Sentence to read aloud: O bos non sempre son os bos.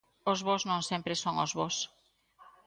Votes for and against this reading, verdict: 2, 0, accepted